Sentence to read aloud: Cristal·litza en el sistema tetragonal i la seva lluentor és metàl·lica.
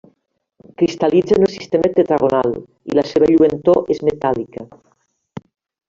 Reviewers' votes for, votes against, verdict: 2, 1, accepted